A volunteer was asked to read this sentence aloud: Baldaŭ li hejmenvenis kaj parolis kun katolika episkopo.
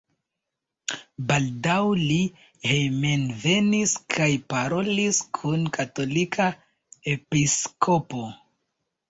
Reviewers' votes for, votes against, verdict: 2, 0, accepted